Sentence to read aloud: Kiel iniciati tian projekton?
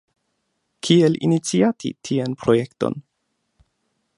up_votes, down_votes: 2, 0